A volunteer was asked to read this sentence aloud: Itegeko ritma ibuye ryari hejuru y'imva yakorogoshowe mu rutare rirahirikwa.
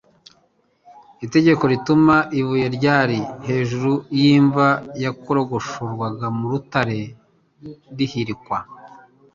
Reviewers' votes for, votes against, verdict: 0, 2, rejected